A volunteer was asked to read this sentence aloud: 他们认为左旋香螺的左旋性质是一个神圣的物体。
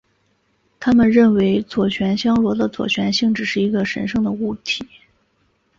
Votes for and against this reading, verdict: 3, 0, accepted